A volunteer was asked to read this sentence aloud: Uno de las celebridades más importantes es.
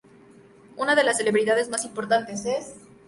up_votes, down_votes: 4, 0